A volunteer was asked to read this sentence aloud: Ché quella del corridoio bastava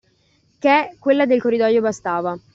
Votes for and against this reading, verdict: 2, 0, accepted